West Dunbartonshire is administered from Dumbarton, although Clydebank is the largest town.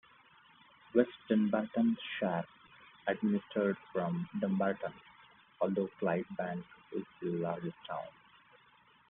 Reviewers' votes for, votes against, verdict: 1, 2, rejected